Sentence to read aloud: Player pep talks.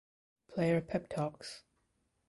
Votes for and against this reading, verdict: 2, 0, accepted